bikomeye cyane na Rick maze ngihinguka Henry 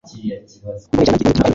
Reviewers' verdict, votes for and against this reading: rejected, 1, 2